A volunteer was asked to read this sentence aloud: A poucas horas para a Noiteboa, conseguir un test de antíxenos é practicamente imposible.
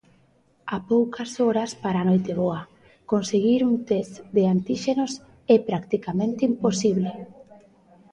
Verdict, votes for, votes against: accepted, 3, 0